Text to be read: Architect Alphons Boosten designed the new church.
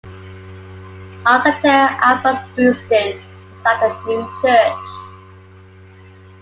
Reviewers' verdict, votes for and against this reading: rejected, 0, 2